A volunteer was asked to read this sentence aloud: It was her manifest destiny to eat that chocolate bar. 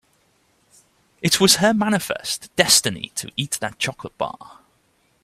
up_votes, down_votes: 2, 0